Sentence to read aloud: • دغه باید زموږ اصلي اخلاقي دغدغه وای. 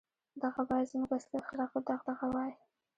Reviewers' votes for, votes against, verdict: 2, 0, accepted